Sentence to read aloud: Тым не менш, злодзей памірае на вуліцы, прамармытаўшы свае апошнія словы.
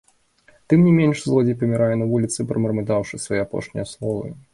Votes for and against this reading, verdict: 2, 0, accepted